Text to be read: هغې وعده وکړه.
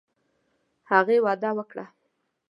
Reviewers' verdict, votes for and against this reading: accepted, 2, 0